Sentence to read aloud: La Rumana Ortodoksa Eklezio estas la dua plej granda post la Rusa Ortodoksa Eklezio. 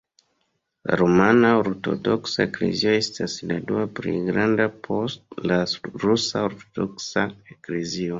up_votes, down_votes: 1, 2